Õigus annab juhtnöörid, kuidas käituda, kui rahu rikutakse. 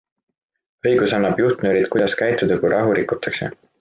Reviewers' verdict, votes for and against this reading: accepted, 2, 0